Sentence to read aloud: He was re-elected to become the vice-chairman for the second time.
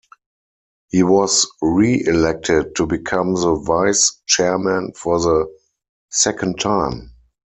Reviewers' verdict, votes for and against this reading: accepted, 4, 0